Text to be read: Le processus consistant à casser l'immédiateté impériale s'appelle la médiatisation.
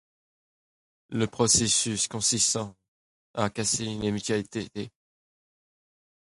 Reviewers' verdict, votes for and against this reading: rejected, 0, 2